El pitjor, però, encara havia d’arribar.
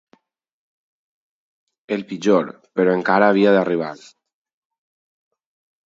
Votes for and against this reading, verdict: 2, 2, rejected